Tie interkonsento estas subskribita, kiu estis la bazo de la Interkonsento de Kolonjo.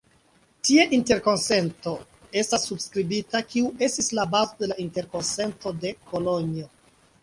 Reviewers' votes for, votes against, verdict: 2, 0, accepted